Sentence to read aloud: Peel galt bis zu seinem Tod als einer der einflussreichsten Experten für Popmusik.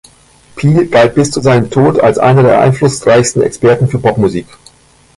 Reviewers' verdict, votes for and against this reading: accepted, 2, 0